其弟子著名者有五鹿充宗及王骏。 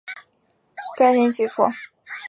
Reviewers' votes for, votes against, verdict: 0, 4, rejected